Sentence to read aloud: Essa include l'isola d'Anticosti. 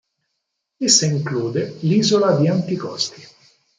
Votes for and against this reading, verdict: 4, 0, accepted